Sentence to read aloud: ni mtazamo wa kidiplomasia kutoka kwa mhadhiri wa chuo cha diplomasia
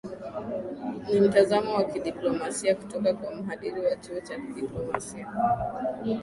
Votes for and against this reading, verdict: 3, 1, accepted